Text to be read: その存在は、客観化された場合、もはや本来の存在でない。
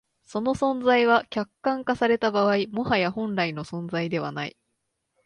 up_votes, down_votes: 2, 0